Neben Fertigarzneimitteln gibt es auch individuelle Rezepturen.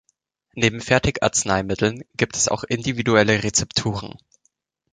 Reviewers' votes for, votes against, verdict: 2, 0, accepted